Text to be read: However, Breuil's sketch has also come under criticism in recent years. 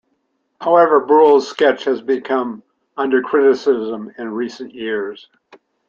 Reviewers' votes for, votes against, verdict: 0, 2, rejected